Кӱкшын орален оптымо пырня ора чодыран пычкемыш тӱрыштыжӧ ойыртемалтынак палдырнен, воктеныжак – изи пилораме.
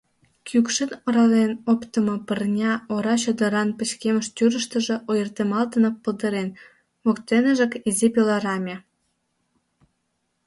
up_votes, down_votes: 0, 2